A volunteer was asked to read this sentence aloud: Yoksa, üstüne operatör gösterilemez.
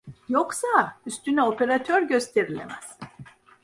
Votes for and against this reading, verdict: 2, 0, accepted